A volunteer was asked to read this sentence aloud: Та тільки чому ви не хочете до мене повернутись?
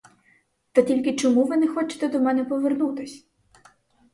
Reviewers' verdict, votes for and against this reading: accepted, 4, 0